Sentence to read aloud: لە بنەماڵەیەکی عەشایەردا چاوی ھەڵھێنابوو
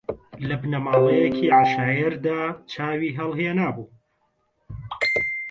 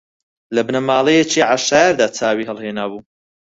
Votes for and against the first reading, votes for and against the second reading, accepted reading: 1, 2, 4, 0, second